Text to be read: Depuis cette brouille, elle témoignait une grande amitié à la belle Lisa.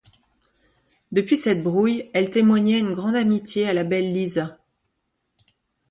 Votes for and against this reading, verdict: 2, 0, accepted